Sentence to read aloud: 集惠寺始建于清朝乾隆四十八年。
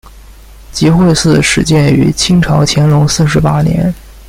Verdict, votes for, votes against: accepted, 2, 1